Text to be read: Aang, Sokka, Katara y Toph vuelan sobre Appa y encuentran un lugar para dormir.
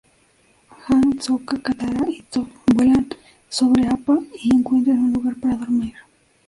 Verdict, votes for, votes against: rejected, 0, 2